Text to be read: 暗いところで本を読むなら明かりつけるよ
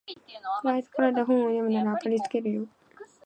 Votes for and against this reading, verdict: 1, 2, rejected